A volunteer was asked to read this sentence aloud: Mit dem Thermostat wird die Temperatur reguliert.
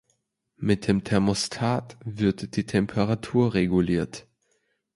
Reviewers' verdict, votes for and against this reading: accepted, 2, 0